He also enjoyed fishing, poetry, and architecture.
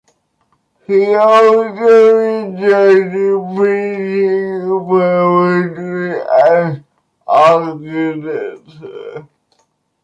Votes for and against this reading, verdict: 0, 2, rejected